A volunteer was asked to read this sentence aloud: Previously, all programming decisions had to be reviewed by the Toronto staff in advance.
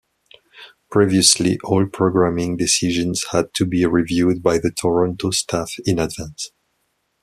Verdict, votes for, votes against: accepted, 2, 0